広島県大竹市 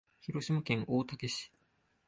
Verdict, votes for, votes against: accepted, 3, 0